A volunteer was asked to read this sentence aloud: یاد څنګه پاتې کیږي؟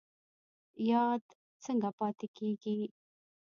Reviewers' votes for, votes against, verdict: 0, 2, rejected